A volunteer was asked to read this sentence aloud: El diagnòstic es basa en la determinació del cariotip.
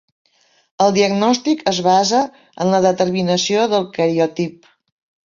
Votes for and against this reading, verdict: 2, 0, accepted